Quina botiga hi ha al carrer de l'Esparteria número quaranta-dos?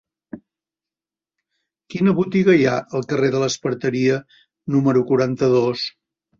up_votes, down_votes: 3, 0